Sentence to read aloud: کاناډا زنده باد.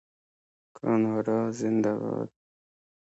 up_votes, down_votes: 2, 0